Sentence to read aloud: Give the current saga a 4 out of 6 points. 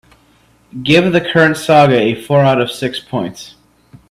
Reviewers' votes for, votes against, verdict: 0, 2, rejected